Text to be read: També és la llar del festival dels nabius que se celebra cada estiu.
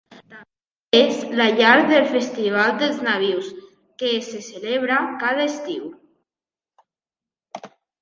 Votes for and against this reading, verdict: 1, 2, rejected